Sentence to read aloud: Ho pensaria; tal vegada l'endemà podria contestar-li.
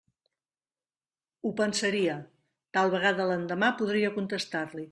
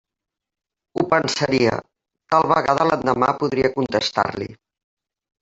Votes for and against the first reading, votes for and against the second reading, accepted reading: 3, 0, 0, 2, first